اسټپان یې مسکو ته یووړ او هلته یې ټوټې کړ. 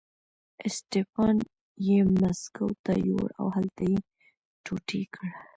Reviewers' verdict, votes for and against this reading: rejected, 1, 2